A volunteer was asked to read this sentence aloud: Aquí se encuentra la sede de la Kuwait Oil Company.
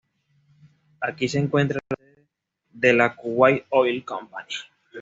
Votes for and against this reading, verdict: 1, 2, rejected